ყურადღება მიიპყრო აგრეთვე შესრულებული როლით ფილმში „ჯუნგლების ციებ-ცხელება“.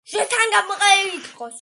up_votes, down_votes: 1, 2